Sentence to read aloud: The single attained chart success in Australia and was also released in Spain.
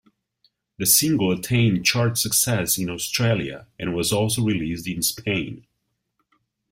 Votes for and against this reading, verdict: 2, 0, accepted